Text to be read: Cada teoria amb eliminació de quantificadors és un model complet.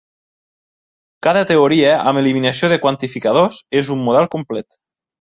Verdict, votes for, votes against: accepted, 3, 0